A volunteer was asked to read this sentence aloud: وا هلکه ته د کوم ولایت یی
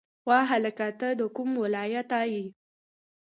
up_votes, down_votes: 0, 2